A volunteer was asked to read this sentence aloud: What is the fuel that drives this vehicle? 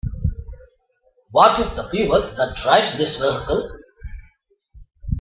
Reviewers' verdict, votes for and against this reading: accepted, 2, 1